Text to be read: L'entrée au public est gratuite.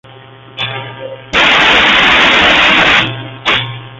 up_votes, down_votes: 0, 2